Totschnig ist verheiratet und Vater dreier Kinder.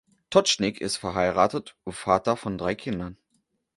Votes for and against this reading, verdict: 0, 2, rejected